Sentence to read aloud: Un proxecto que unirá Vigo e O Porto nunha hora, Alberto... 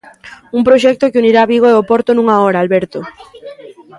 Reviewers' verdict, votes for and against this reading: rejected, 1, 2